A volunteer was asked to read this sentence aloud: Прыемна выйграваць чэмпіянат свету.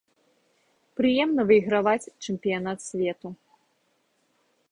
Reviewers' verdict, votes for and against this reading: accepted, 2, 0